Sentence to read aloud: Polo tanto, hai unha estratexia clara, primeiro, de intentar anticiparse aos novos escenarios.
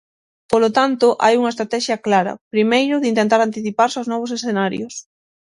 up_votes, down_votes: 6, 0